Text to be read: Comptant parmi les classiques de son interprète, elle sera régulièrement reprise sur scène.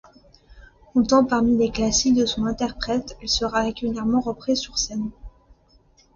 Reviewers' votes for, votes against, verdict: 0, 2, rejected